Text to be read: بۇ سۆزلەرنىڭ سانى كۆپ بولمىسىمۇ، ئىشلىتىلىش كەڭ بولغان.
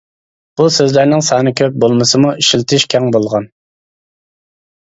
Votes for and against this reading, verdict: 0, 2, rejected